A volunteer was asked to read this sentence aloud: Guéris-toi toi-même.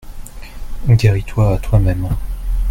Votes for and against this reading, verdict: 2, 0, accepted